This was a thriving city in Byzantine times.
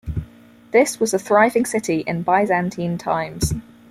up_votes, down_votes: 4, 0